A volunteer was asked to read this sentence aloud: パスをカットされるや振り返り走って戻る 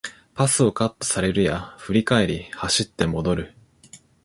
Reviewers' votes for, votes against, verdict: 2, 0, accepted